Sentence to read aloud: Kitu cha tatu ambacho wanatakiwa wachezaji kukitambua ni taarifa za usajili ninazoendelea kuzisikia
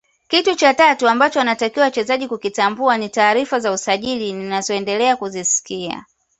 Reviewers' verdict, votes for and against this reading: accepted, 2, 0